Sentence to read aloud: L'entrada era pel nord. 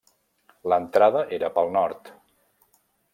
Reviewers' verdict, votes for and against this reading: accepted, 3, 0